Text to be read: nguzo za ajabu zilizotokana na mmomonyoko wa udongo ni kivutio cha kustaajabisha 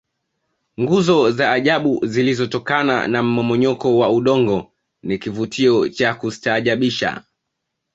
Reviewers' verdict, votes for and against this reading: accepted, 2, 0